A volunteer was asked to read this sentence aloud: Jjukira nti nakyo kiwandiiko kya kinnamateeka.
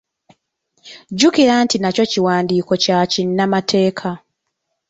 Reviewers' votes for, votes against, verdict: 2, 0, accepted